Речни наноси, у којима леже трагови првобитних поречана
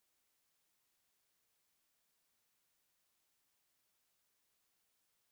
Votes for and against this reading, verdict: 0, 2, rejected